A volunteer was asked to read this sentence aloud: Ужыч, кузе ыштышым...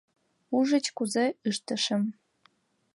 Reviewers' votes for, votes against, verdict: 1, 2, rejected